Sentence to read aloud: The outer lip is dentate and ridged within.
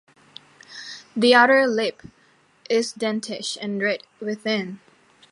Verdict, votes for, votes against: rejected, 1, 2